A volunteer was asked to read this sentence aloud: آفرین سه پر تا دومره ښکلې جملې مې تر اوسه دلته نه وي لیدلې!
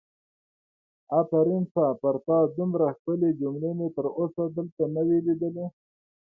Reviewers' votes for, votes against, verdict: 2, 1, accepted